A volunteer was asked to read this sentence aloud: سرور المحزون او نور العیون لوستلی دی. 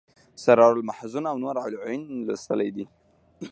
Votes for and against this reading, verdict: 3, 0, accepted